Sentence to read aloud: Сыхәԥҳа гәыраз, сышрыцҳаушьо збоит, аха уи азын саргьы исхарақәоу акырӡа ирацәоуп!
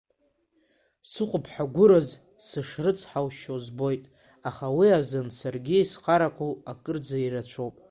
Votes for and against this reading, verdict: 1, 2, rejected